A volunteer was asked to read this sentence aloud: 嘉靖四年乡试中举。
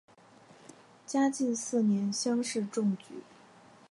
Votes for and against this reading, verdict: 2, 0, accepted